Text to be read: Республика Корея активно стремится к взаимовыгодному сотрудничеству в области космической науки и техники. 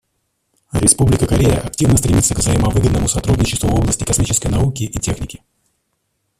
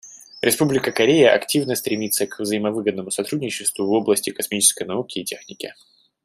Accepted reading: second